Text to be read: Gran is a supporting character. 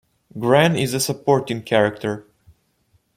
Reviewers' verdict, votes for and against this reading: accepted, 2, 0